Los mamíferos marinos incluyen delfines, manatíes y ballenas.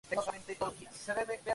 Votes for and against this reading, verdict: 0, 2, rejected